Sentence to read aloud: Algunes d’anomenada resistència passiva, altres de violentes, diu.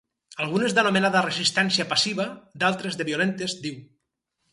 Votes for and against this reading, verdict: 2, 4, rejected